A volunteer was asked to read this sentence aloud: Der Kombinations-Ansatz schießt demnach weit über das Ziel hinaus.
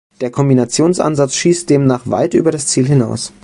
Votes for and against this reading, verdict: 2, 0, accepted